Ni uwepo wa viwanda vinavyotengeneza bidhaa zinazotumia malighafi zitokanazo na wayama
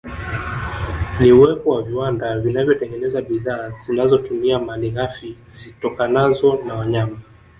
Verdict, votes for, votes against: rejected, 0, 2